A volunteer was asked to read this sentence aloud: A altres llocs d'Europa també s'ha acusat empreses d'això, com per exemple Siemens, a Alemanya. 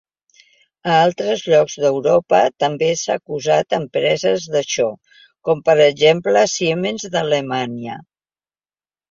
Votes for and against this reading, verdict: 0, 2, rejected